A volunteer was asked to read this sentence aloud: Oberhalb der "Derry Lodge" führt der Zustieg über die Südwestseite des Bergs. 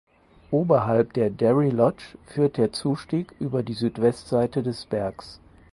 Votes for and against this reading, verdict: 4, 0, accepted